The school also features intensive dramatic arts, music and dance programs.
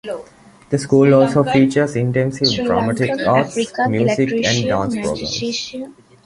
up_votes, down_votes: 0, 2